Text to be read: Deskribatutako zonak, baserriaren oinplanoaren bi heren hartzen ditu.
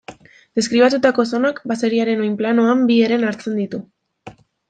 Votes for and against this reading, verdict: 0, 2, rejected